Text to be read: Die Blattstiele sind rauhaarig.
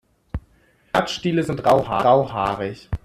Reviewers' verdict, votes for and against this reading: rejected, 0, 2